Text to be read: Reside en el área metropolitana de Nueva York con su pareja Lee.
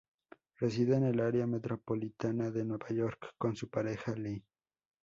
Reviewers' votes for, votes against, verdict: 4, 0, accepted